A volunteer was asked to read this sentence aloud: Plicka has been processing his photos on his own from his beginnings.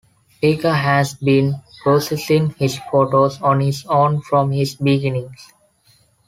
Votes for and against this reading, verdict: 2, 0, accepted